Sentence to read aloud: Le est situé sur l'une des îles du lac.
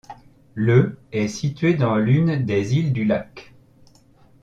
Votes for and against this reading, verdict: 0, 2, rejected